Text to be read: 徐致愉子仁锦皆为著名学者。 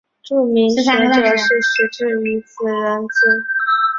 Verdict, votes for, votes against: rejected, 0, 2